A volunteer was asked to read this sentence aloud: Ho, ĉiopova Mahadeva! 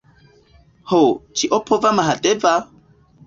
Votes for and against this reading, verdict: 2, 0, accepted